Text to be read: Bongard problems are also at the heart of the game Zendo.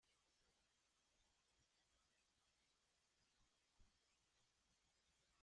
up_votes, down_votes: 0, 2